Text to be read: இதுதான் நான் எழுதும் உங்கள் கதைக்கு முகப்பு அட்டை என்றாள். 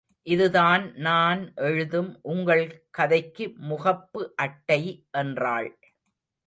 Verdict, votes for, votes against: rejected, 1, 2